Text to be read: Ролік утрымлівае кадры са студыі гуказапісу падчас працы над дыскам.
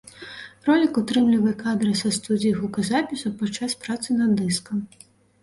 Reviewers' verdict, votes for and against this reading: rejected, 1, 2